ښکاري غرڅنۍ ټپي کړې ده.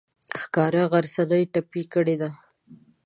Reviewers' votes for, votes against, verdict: 1, 2, rejected